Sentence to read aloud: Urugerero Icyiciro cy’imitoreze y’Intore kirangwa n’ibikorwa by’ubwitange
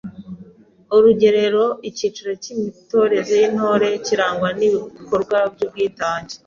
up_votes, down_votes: 2, 0